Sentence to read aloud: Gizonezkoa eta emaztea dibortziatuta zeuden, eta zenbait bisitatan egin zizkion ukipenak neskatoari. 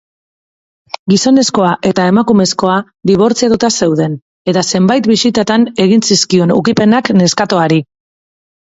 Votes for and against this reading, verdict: 0, 2, rejected